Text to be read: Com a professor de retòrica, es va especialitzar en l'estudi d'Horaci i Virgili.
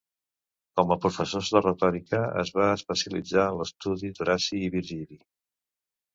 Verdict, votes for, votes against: rejected, 0, 2